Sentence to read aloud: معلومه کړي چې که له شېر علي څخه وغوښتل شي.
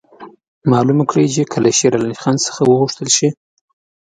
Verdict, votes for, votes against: accepted, 2, 0